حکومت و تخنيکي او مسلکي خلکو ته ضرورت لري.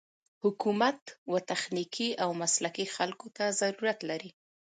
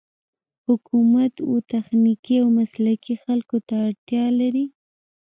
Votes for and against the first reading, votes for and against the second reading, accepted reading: 2, 1, 1, 2, first